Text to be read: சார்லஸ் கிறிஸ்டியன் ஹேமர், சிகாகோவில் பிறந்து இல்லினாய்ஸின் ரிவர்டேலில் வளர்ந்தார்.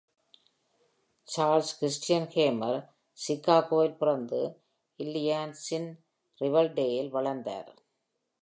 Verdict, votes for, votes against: accepted, 2, 0